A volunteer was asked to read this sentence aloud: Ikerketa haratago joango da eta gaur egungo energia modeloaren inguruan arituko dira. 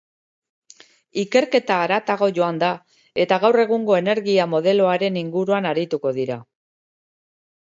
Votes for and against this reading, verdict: 2, 1, accepted